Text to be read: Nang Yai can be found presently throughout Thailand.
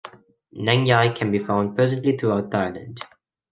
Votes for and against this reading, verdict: 0, 2, rejected